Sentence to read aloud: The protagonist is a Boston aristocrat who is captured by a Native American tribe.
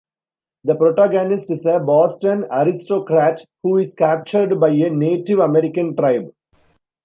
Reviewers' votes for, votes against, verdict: 2, 0, accepted